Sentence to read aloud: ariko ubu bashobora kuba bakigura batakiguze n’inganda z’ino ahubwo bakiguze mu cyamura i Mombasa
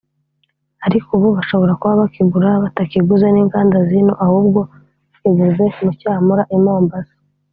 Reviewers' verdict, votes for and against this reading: accepted, 2, 0